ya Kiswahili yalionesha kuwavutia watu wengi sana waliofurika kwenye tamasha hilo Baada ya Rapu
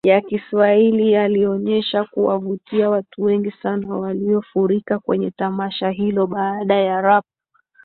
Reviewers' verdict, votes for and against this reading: rejected, 1, 2